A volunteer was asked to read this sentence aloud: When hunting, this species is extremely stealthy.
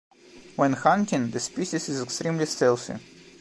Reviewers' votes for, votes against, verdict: 2, 1, accepted